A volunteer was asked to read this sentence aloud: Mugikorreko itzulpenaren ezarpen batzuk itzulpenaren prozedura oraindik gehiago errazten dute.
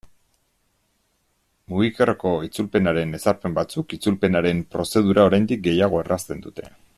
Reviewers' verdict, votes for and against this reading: accepted, 2, 1